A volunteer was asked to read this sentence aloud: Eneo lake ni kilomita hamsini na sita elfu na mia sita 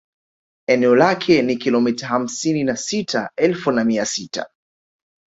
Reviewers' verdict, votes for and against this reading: rejected, 0, 2